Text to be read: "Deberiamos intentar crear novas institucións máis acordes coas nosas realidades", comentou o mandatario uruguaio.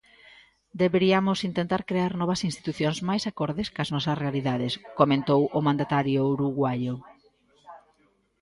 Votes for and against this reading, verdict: 0, 2, rejected